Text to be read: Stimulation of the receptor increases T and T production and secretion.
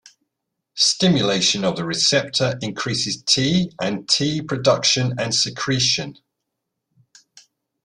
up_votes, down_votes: 2, 0